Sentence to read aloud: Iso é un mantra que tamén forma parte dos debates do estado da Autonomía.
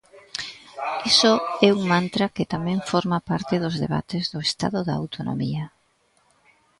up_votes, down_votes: 0, 2